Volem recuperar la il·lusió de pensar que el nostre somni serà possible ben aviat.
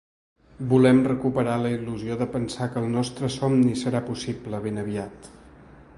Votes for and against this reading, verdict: 3, 0, accepted